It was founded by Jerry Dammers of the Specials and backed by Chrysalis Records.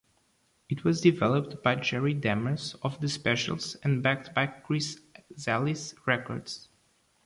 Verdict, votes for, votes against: rejected, 0, 2